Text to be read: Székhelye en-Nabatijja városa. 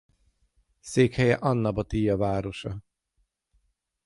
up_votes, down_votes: 3, 3